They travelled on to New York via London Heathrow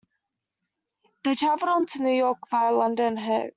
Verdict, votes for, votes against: rejected, 0, 2